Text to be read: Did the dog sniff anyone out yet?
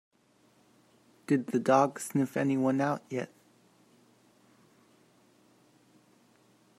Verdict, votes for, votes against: accepted, 2, 0